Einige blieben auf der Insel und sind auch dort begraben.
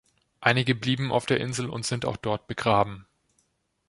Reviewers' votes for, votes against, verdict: 2, 0, accepted